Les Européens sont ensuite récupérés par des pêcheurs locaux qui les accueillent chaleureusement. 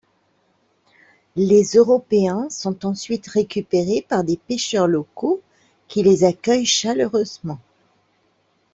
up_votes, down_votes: 2, 0